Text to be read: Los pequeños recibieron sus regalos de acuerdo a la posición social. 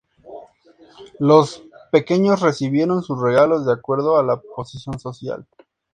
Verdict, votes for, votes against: accepted, 4, 0